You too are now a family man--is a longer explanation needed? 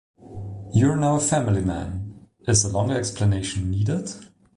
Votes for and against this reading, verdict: 0, 2, rejected